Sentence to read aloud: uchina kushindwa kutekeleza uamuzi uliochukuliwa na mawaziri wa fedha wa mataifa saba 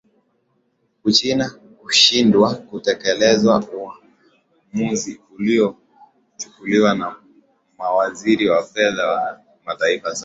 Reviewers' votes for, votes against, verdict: 2, 0, accepted